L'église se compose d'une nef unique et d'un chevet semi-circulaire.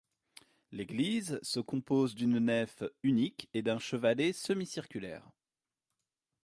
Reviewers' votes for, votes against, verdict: 0, 2, rejected